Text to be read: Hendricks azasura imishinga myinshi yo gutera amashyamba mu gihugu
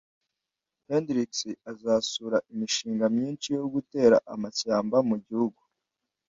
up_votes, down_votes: 2, 0